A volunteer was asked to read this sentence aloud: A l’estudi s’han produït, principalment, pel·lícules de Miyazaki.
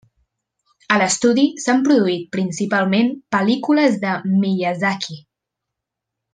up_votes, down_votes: 3, 0